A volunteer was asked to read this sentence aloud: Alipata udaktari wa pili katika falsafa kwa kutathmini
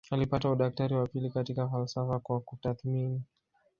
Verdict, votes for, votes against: rejected, 1, 2